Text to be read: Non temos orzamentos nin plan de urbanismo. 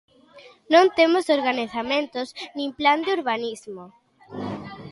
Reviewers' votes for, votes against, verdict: 0, 3, rejected